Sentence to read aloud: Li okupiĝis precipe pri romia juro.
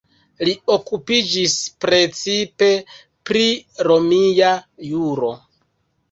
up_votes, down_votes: 2, 0